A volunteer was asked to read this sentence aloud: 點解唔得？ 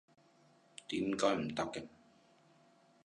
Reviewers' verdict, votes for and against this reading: rejected, 0, 2